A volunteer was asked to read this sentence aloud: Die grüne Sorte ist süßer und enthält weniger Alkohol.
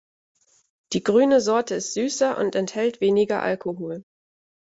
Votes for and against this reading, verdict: 2, 0, accepted